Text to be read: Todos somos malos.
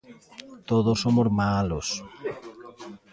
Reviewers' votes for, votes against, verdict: 2, 1, accepted